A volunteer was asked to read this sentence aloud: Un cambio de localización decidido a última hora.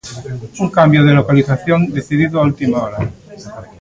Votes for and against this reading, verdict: 2, 0, accepted